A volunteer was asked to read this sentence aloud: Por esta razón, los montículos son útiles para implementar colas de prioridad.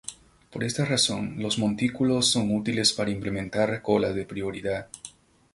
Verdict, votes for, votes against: accepted, 2, 0